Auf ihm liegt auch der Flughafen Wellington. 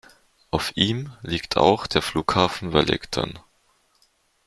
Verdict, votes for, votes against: accepted, 2, 0